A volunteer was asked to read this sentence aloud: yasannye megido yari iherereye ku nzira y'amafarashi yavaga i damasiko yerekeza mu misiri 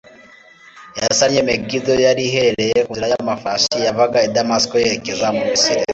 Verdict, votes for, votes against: accepted, 2, 0